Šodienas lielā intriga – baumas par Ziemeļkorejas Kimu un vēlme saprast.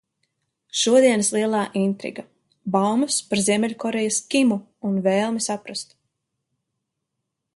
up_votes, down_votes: 2, 0